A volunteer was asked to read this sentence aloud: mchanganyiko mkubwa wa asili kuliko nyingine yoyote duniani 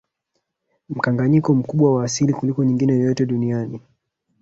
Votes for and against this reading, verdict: 1, 2, rejected